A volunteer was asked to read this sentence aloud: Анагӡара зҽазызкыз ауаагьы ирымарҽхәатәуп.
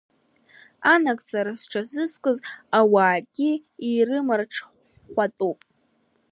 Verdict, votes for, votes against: rejected, 0, 2